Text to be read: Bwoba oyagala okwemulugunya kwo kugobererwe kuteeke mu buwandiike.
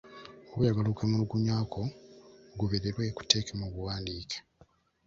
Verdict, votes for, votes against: rejected, 0, 2